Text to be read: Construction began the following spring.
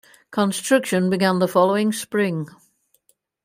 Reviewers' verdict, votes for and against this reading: accepted, 2, 0